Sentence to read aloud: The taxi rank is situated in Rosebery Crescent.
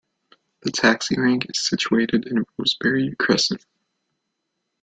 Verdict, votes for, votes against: accepted, 2, 0